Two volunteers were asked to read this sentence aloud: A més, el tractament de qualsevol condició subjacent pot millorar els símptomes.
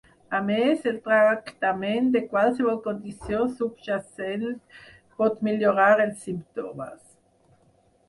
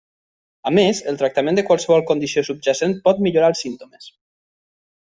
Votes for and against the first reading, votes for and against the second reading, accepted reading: 0, 4, 3, 0, second